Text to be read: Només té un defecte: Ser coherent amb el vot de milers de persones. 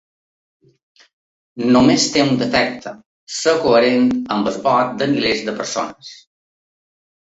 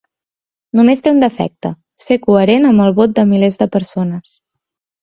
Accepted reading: second